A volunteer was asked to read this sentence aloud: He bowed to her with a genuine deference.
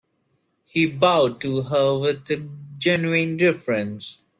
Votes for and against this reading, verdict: 0, 2, rejected